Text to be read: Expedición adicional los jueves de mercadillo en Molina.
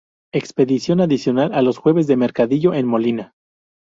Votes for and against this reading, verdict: 2, 0, accepted